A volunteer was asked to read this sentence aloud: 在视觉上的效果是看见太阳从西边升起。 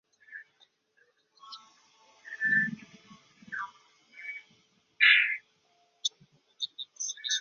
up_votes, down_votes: 0, 2